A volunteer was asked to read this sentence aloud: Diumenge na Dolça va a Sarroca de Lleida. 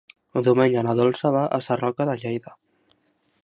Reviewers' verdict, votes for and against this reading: rejected, 0, 2